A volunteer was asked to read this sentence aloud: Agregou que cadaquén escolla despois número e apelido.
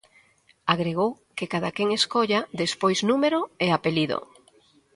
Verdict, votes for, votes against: accepted, 2, 0